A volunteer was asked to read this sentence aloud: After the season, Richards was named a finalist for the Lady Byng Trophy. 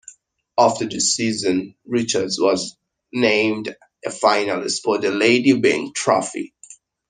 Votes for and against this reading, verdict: 2, 1, accepted